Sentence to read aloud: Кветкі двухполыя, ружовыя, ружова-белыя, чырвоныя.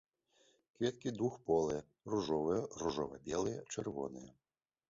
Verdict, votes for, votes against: accepted, 2, 0